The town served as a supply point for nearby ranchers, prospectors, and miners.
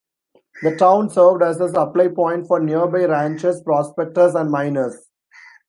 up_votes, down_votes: 2, 0